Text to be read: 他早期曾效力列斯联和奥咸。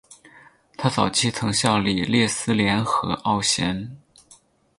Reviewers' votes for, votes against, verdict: 0, 4, rejected